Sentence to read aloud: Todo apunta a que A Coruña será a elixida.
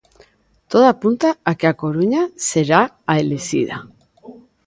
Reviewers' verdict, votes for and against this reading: accepted, 2, 1